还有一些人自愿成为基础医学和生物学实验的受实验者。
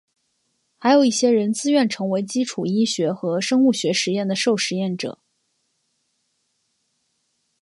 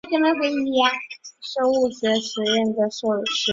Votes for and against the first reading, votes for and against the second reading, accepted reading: 2, 0, 1, 5, first